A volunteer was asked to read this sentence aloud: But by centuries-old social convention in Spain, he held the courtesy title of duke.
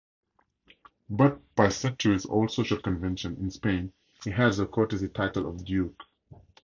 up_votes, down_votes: 0, 4